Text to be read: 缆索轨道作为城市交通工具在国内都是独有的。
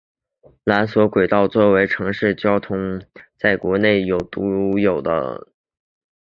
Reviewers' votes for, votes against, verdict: 1, 2, rejected